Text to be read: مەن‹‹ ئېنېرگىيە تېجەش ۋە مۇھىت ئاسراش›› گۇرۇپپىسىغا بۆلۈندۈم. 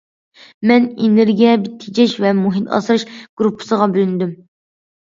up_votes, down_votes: 2, 1